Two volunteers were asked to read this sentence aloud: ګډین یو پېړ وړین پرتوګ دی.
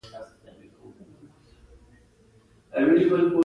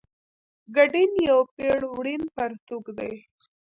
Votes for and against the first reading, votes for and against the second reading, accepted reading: 2, 0, 1, 2, first